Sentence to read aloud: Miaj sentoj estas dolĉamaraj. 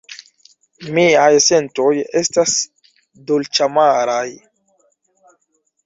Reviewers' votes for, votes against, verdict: 2, 1, accepted